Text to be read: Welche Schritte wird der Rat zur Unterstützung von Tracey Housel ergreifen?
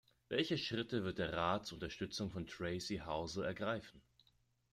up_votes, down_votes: 2, 0